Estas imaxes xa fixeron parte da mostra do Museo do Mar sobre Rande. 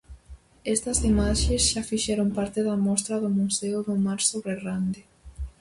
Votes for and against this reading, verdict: 4, 0, accepted